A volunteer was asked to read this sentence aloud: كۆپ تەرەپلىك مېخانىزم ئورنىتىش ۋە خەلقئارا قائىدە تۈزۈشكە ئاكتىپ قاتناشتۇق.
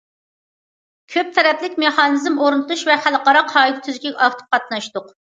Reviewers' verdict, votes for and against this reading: rejected, 0, 2